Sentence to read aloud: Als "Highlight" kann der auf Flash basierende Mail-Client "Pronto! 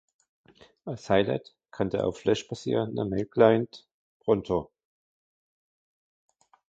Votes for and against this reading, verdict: 0, 2, rejected